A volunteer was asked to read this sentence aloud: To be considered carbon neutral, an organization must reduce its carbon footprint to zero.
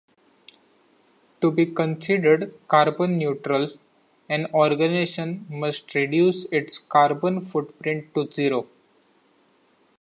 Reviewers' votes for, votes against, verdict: 2, 0, accepted